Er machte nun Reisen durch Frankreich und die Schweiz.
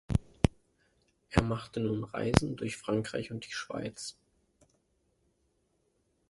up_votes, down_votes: 0, 2